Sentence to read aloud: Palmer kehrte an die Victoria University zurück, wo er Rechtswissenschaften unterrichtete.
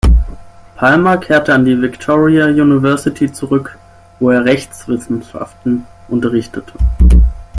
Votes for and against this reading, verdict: 6, 3, accepted